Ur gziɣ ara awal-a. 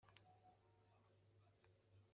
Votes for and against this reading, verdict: 1, 2, rejected